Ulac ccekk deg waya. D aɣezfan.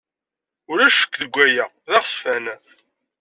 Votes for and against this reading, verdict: 2, 0, accepted